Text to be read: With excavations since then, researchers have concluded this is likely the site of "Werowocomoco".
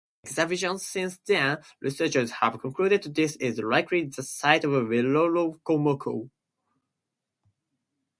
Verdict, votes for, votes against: rejected, 2, 4